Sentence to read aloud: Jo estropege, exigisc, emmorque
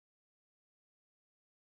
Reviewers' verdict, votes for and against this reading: rejected, 0, 4